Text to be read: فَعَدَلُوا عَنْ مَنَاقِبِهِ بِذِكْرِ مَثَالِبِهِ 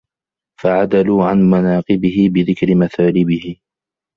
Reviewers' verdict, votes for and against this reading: rejected, 0, 2